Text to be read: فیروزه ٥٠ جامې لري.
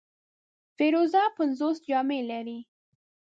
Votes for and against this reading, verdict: 0, 2, rejected